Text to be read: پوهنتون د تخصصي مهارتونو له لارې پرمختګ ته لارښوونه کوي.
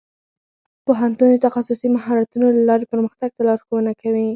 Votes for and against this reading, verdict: 0, 4, rejected